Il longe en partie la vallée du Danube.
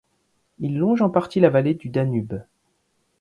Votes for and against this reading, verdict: 2, 0, accepted